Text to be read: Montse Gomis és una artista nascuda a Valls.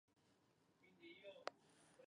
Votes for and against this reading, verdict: 0, 2, rejected